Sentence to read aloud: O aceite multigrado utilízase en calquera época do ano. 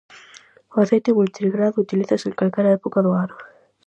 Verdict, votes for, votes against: accepted, 4, 0